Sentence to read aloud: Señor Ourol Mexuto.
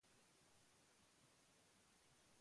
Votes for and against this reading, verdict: 0, 2, rejected